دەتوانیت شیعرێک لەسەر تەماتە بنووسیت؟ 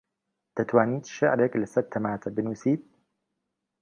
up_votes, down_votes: 2, 1